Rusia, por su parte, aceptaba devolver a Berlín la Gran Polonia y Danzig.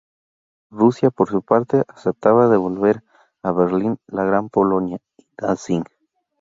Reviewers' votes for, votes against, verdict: 2, 2, rejected